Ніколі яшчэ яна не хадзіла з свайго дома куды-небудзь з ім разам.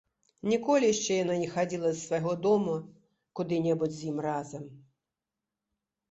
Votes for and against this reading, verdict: 2, 0, accepted